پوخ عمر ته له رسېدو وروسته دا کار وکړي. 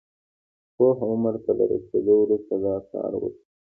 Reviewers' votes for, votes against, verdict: 2, 0, accepted